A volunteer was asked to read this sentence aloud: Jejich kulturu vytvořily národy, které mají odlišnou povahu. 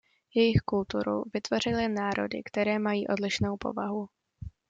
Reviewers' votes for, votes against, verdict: 2, 0, accepted